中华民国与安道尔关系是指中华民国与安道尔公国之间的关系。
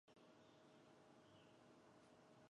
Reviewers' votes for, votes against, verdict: 0, 3, rejected